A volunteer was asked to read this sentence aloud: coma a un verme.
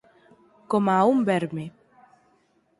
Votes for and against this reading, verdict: 4, 0, accepted